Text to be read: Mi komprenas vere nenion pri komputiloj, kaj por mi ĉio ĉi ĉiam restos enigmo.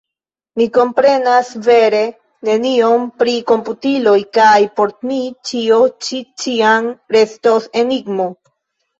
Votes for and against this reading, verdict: 1, 2, rejected